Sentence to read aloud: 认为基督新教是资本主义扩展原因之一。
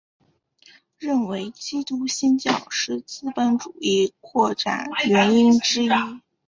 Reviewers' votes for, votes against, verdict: 2, 1, accepted